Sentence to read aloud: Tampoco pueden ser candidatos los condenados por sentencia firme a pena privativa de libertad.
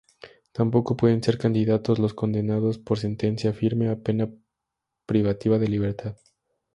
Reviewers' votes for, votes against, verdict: 2, 0, accepted